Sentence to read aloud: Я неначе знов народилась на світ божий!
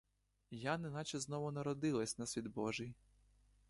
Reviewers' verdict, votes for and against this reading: rejected, 1, 2